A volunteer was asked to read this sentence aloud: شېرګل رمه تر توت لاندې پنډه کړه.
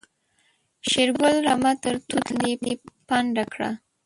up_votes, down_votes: 0, 2